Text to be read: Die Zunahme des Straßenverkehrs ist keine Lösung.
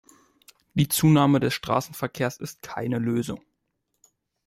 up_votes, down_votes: 2, 0